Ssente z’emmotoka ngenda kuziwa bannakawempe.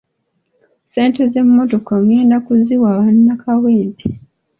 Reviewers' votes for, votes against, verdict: 2, 1, accepted